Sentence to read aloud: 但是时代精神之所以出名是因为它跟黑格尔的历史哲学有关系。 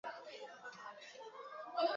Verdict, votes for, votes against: rejected, 1, 2